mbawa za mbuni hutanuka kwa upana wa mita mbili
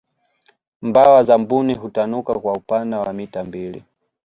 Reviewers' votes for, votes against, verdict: 2, 0, accepted